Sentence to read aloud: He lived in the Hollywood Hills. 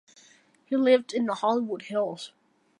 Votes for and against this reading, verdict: 2, 0, accepted